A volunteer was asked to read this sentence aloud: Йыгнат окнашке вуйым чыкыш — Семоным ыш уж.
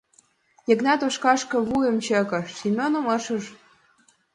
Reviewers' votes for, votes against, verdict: 1, 2, rejected